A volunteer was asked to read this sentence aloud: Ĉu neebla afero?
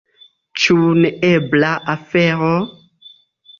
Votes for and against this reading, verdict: 2, 0, accepted